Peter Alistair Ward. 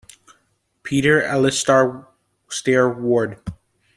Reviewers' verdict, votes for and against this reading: rejected, 1, 2